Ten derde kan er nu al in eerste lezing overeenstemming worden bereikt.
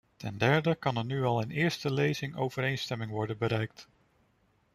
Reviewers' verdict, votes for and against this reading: accepted, 2, 0